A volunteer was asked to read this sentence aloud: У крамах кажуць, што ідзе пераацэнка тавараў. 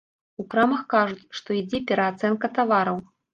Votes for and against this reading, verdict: 0, 2, rejected